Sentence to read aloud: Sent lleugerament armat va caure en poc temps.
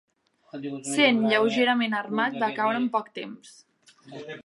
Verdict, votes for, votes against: rejected, 1, 2